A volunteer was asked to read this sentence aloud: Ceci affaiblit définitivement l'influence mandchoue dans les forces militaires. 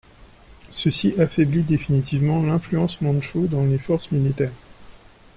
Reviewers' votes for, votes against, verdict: 2, 0, accepted